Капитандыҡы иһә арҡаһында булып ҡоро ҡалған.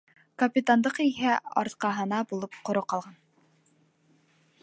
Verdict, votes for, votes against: rejected, 1, 2